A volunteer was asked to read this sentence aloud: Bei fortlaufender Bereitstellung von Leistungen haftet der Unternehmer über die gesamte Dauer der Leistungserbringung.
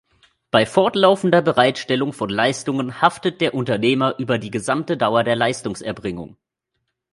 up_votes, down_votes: 2, 0